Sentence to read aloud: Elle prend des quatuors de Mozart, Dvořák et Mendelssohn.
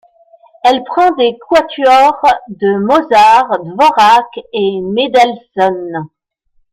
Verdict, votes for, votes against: rejected, 0, 2